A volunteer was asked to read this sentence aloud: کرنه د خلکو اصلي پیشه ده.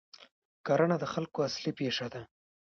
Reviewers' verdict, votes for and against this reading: rejected, 1, 2